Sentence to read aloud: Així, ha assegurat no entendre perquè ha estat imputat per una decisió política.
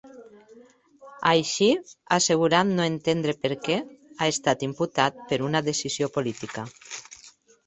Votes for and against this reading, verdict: 2, 0, accepted